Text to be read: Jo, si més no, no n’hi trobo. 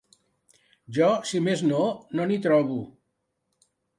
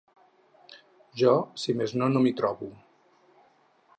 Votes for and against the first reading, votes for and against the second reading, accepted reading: 3, 0, 2, 4, first